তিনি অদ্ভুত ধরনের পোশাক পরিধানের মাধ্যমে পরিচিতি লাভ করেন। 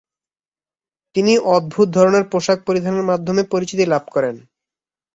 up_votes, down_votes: 10, 0